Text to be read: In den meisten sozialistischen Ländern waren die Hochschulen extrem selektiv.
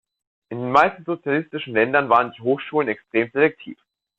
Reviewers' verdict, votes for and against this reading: rejected, 0, 2